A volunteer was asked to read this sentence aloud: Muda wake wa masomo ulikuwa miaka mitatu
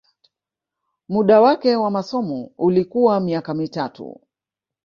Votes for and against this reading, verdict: 3, 2, accepted